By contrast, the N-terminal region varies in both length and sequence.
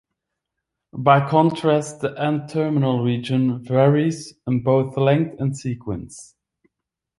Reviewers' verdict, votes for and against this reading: accepted, 2, 0